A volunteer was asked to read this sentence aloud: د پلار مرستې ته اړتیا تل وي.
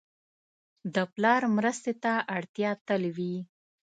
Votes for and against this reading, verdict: 2, 0, accepted